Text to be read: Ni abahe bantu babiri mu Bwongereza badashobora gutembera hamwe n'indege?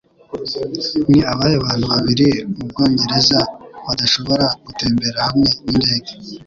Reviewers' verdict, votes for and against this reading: accepted, 2, 0